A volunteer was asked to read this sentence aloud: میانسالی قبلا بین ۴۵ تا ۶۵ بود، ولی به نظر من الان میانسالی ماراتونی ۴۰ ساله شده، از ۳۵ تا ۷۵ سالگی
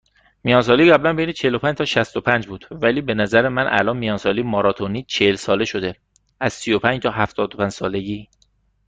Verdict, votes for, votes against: rejected, 0, 2